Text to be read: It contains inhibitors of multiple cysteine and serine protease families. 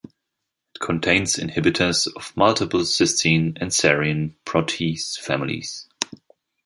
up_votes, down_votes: 0, 2